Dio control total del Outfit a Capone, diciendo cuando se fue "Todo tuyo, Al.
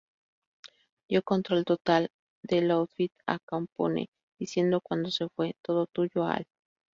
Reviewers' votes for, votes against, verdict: 0, 2, rejected